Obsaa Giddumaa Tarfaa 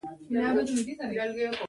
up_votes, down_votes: 0, 2